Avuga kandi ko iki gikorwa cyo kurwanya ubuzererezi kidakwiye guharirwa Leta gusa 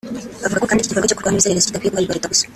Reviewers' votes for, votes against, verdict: 0, 2, rejected